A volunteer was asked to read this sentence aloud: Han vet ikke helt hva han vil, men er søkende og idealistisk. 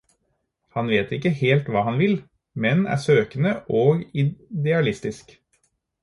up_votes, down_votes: 4, 0